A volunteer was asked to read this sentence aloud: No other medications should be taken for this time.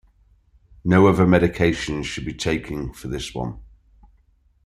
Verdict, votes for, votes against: rejected, 0, 2